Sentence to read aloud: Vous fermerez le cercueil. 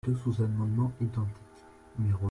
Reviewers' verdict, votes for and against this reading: rejected, 0, 2